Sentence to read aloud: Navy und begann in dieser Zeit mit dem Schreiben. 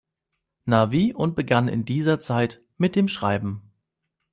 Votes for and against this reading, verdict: 0, 2, rejected